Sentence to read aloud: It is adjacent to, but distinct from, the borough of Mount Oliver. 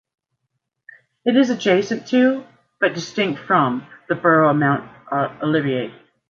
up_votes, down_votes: 0, 2